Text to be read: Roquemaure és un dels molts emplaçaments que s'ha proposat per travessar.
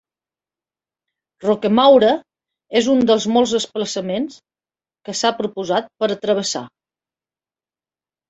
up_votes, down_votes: 0, 2